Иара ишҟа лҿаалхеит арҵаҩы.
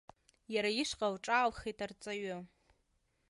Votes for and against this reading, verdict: 2, 0, accepted